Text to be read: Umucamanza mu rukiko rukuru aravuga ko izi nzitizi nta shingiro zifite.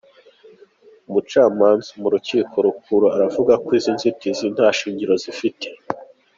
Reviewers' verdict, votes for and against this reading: accepted, 2, 0